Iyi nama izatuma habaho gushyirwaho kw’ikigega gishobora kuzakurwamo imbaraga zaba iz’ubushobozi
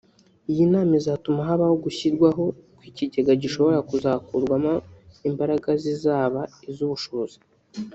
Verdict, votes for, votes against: rejected, 1, 2